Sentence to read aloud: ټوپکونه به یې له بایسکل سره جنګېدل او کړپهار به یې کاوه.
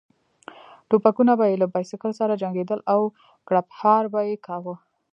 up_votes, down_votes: 2, 0